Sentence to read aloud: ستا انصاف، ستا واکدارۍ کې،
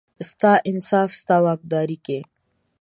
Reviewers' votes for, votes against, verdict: 2, 0, accepted